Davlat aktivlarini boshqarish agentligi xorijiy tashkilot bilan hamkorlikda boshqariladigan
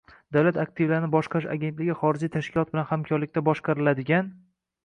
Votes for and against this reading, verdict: 1, 2, rejected